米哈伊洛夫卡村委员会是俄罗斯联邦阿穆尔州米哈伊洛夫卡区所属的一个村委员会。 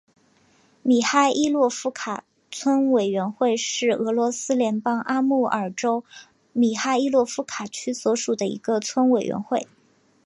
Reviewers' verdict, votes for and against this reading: accepted, 3, 0